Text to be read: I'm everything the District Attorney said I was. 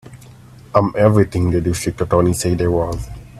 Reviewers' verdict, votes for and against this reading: rejected, 0, 3